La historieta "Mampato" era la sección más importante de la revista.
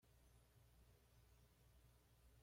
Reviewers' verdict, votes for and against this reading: rejected, 1, 2